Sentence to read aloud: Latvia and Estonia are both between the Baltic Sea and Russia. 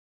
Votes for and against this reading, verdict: 0, 2, rejected